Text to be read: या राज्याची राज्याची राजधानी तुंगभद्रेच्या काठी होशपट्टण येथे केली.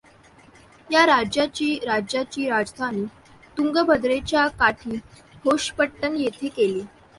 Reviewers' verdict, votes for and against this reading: accepted, 2, 1